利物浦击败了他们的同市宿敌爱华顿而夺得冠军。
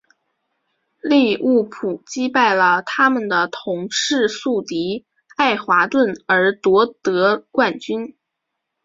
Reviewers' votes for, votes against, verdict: 2, 0, accepted